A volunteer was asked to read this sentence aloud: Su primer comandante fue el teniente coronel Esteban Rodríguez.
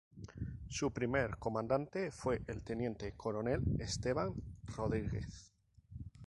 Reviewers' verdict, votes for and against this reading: rejected, 0, 2